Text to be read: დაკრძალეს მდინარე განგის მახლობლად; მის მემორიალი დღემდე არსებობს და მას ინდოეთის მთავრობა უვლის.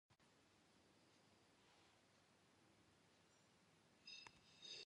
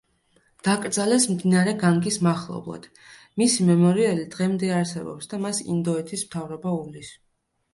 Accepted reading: second